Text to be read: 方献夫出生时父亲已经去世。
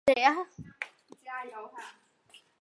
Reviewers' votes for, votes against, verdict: 0, 2, rejected